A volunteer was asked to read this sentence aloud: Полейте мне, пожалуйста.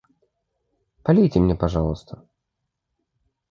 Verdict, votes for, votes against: accepted, 2, 0